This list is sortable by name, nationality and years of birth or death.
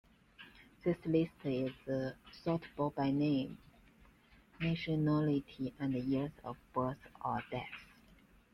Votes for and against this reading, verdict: 2, 1, accepted